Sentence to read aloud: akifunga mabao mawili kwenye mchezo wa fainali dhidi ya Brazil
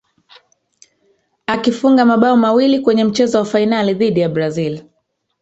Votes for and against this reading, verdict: 0, 3, rejected